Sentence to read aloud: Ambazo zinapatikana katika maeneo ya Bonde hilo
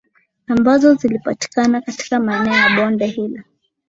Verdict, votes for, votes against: rejected, 1, 4